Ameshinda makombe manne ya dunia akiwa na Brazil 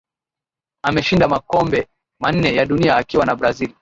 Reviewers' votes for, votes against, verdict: 5, 1, accepted